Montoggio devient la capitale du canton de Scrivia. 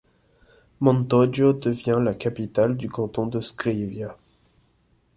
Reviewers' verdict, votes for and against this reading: accepted, 2, 0